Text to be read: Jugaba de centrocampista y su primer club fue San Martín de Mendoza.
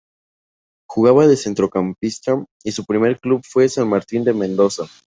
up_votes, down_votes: 2, 0